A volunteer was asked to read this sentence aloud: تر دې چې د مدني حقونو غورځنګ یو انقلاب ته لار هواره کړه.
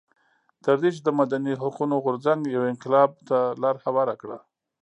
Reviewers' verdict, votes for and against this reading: accepted, 2, 0